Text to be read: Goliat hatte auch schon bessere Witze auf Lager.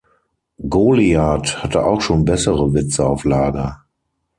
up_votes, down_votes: 6, 0